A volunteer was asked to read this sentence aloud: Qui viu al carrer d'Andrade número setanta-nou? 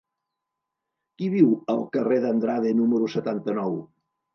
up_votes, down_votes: 2, 0